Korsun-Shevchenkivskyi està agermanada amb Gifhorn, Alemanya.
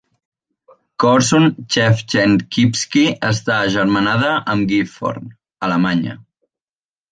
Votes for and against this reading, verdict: 1, 2, rejected